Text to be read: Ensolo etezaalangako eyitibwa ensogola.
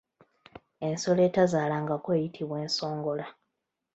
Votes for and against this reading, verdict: 2, 1, accepted